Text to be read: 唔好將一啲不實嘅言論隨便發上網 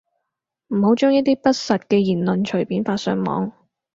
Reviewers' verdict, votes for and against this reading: accepted, 4, 0